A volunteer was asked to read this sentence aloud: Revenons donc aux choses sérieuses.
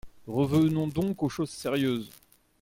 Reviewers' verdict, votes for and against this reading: accepted, 2, 1